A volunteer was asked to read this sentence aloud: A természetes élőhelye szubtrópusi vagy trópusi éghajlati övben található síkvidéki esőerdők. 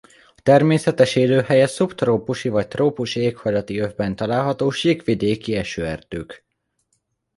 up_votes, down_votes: 2, 0